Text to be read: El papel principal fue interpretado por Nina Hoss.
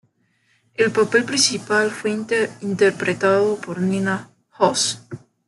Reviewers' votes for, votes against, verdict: 1, 2, rejected